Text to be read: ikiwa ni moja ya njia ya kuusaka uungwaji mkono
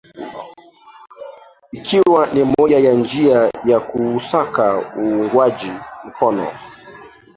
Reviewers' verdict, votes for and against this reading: rejected, 0, 2